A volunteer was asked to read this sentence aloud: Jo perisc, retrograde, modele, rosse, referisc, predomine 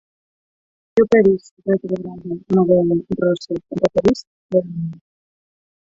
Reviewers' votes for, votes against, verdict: 0, 4, rejected